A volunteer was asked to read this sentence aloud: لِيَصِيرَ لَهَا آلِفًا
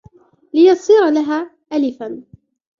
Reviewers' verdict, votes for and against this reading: accepted, 3, 0